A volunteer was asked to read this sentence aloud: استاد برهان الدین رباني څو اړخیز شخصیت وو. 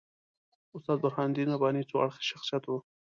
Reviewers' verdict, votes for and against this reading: accepted, 2, 0